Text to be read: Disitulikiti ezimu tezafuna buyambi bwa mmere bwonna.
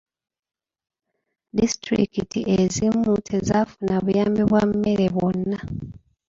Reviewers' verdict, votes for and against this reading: accepted, 2, 1